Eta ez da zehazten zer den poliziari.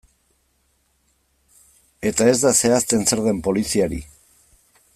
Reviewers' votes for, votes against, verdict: 2, 0, accepted